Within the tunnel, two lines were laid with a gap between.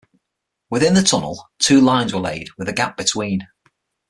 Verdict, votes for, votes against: accepted, 6, 0